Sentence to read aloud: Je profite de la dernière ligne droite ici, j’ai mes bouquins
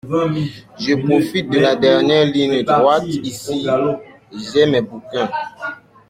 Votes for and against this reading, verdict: 1, 2, rejected